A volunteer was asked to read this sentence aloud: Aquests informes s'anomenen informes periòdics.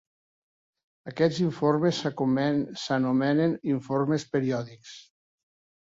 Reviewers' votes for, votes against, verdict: 0, 2, rejected